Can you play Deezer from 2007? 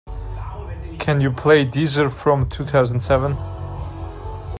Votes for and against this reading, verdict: 0, 2, rejected